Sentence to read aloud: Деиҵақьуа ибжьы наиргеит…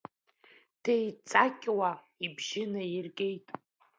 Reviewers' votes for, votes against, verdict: 2, 1, accepted